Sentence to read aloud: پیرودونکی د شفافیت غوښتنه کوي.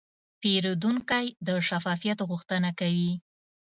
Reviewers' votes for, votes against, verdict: 2, 0, accepted